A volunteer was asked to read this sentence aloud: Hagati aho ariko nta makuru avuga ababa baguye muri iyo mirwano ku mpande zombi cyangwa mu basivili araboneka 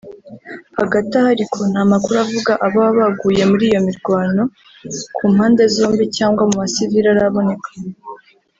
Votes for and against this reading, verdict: 1, 2, rejected